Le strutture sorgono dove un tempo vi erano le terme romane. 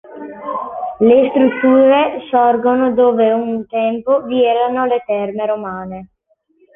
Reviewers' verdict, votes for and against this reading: accepted, 2, 0